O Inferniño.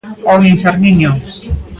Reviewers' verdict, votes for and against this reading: accepted, 2, 1